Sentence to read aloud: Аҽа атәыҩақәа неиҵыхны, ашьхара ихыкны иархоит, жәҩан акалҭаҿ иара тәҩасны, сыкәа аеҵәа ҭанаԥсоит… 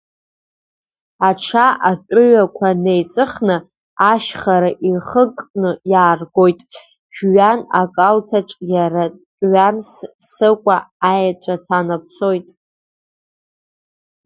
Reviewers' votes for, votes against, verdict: 1, 2, rejected